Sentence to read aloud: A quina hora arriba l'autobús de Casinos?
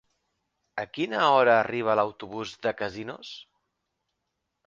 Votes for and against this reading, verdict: 4, 0, accepted